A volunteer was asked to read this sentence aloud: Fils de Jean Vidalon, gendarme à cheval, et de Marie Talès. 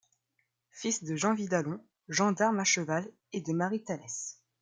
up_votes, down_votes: 2, 0